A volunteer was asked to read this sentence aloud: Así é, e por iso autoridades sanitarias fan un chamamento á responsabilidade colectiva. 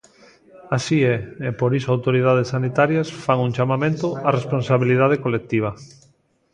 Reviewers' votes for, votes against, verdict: 2, 0, accepted